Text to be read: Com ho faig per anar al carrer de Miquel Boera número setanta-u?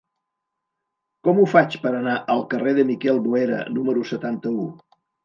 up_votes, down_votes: 3, 0